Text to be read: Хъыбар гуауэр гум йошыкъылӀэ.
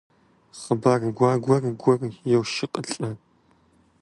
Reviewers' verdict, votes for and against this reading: rejected, 0, 2